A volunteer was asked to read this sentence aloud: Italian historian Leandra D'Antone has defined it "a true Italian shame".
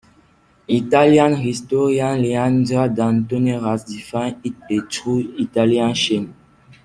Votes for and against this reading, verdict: 1, 2, rejected